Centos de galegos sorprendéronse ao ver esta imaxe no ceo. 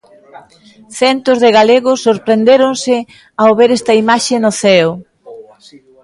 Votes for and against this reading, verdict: 0, 2, rejected